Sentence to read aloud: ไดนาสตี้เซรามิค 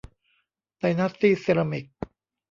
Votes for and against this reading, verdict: 1, 2, rejected